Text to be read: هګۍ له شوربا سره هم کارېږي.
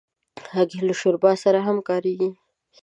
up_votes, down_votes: 2, 0